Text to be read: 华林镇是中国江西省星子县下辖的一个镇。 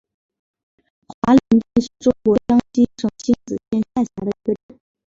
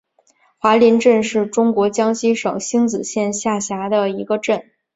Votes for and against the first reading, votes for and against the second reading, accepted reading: 1, 2, 2, 0, second